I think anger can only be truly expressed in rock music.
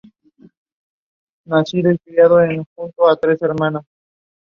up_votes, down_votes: 2, 1